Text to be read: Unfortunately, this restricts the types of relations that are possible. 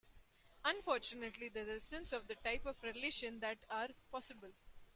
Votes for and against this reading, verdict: 0, 2, rejected